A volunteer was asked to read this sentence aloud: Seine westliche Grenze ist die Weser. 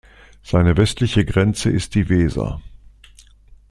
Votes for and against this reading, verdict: 2, 0, accepted